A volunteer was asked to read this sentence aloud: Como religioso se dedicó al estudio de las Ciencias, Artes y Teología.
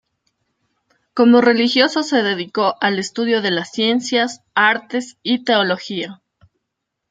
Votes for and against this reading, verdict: 2, 0, accepted